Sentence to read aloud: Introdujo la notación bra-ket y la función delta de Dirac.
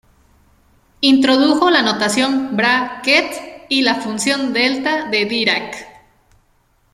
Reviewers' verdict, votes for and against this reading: accepted, 2, 0